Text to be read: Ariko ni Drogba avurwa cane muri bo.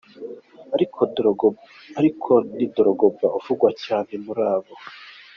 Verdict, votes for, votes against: rejected, 0, 2